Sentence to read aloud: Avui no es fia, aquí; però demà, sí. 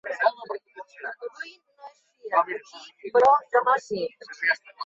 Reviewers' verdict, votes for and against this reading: rejected, 0, 3